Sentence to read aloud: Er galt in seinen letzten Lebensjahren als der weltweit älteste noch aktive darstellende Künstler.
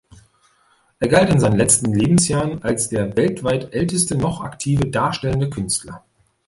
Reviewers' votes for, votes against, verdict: 2, 0, accepted